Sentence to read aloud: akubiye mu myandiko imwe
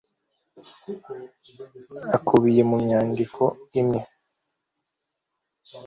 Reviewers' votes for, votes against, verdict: 2, 0, accepted